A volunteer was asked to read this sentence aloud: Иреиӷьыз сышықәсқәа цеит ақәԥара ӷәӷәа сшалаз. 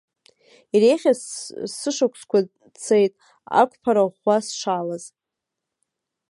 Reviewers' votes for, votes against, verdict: 0, 2, rejected